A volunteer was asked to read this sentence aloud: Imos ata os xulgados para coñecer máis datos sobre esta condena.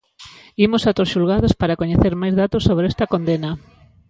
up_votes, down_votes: 2, 0